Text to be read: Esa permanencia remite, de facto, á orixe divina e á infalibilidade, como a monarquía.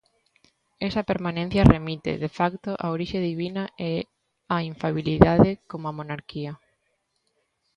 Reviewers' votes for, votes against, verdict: 0, 2, rejected